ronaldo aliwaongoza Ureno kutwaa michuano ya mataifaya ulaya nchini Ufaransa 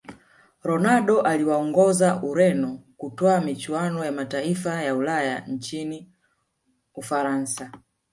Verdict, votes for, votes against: accepted, 2, 0